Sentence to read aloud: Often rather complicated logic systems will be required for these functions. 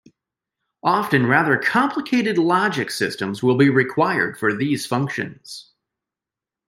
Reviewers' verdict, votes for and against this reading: accepted, 2, 0